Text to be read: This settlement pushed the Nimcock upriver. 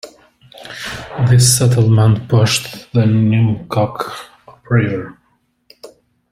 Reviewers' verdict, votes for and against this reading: rejected, 1, 3